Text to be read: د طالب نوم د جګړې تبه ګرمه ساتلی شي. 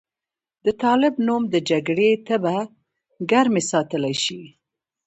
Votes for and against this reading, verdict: 2, 0, accepted